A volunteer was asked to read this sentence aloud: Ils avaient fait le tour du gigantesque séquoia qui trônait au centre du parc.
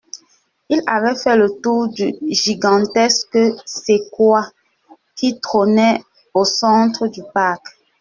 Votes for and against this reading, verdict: 1, 2, rejected